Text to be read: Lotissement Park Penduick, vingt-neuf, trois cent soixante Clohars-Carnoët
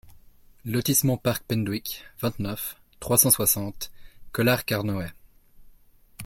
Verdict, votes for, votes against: rejected, 1, 2